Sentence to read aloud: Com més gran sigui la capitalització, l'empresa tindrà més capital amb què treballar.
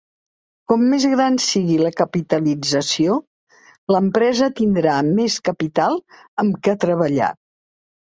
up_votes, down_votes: 2, 0